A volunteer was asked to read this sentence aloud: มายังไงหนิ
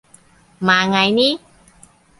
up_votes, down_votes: 0, 2